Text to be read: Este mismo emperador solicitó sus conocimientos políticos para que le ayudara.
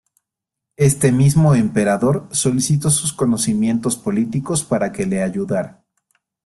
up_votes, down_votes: 2, 0